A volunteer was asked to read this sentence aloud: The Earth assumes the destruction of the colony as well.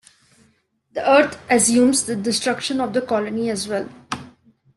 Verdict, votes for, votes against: accepted, 2, 1